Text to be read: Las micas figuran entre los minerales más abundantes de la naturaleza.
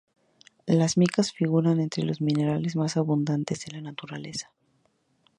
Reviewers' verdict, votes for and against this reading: rejected, 0, 2